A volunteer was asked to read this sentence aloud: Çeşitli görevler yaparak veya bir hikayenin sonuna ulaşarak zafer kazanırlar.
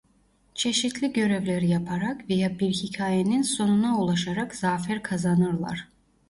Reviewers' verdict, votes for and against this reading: accepted, 2, 1